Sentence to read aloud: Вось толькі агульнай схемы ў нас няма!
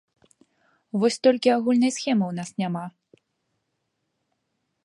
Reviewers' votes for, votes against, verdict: 3, 0, accepted